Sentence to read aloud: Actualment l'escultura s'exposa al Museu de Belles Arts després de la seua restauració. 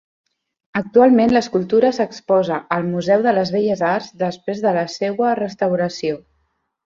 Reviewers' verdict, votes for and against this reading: rejected, 1, 2